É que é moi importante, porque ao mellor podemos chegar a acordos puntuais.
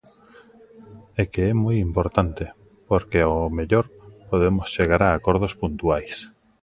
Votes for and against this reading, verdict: 2, 0, accepted